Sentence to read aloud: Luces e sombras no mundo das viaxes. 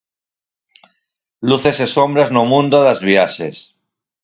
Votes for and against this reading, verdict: 4, 2, accepted